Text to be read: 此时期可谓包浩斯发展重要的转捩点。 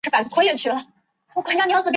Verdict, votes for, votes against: rejected, 0, 2